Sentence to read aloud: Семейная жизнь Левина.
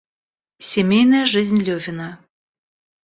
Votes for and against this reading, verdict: 1, 2, rejected